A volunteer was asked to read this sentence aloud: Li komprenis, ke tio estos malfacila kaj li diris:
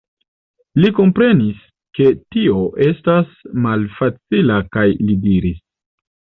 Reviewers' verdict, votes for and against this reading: rejected, 1, 2